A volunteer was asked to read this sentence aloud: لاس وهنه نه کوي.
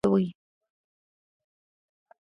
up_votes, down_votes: 1, 2